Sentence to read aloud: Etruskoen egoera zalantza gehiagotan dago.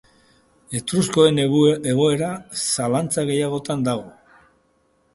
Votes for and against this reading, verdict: 0, 2, rejected